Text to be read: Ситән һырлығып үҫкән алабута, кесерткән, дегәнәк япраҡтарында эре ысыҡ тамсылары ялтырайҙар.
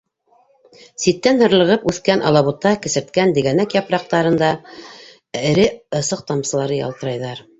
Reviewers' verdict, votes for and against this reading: rejected, 0, 2